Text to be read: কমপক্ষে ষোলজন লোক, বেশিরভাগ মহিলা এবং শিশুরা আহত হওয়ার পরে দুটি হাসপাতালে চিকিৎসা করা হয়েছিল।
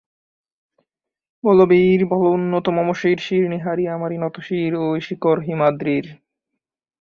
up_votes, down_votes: 0, 3